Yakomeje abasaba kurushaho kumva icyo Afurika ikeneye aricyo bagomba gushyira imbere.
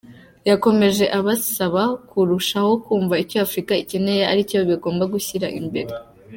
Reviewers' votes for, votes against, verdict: 0, 2, rejected